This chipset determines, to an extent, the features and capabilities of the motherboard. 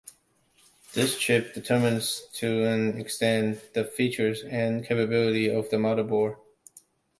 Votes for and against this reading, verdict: 0, 2, rejected